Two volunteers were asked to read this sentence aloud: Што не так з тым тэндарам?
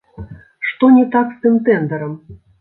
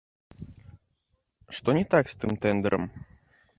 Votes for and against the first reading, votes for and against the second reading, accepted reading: 2, 0, 0, 2, first